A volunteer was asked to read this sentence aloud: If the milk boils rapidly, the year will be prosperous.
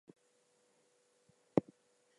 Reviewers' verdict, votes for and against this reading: rejected, 0, 2